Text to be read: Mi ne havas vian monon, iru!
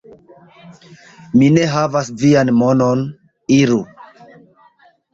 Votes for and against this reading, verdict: 2, 0, accepted